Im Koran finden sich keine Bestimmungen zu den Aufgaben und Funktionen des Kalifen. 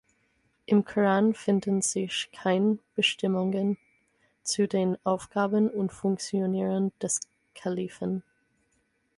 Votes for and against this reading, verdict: 0, 6, rejected